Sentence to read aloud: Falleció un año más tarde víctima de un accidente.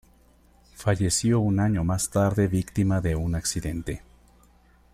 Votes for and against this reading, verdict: 2, 0, accepted